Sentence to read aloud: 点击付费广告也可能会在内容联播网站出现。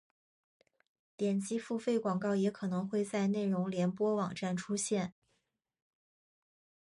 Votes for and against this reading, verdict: 1, 2, rejected